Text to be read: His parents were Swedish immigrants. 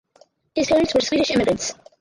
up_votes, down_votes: 0, 4